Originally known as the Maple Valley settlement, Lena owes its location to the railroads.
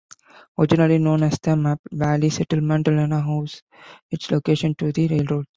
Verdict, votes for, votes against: rejected, 0, 2